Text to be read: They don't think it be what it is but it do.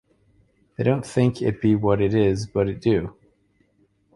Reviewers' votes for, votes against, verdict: 2, 0, accepted